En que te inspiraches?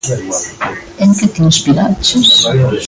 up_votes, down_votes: 0, 2